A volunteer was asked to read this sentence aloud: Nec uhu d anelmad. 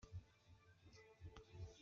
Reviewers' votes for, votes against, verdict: 1, 2, rejected